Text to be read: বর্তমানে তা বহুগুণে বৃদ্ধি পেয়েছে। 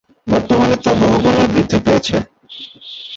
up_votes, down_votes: 1, 2